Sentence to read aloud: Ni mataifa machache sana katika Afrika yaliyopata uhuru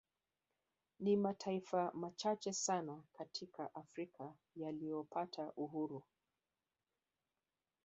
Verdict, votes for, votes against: rejected, 1, 2